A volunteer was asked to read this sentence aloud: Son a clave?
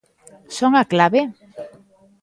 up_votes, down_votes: 1, 2